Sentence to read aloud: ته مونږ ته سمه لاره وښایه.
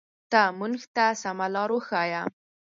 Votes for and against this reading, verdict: 2, 4, rejected